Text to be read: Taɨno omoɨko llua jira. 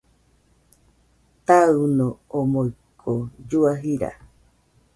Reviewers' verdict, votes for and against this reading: accepted, 2, 0